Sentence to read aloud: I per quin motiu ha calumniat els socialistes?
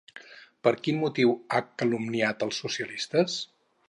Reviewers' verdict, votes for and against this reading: rejected, 0, 2